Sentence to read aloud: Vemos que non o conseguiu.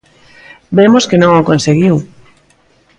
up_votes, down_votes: 2, 0